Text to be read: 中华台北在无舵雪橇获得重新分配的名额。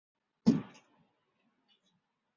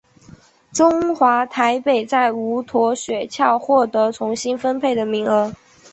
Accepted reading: second